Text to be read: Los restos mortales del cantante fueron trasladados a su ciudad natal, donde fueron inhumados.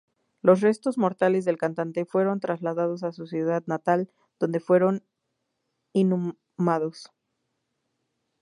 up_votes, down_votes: 2, 0